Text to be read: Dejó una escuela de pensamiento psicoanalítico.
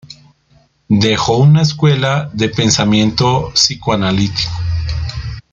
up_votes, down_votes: 2, 1